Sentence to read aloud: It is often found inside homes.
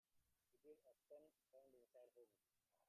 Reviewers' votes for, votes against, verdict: 0, 3, rejected